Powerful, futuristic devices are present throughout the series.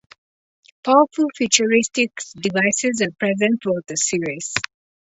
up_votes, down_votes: 2, 0